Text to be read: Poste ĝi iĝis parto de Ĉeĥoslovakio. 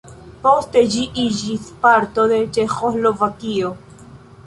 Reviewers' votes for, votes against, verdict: 0, 2, rejected